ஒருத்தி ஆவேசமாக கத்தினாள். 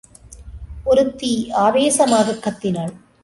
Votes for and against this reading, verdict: 2, 0, accepted